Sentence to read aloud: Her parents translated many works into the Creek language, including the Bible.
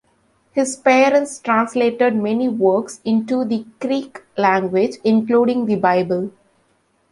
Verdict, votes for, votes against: rejected, 0, 2